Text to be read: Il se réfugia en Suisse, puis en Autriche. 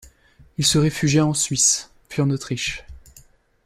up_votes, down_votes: 3, 0